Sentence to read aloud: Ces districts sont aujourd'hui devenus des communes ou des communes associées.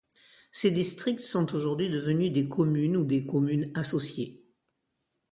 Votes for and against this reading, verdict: 2, 0, accepted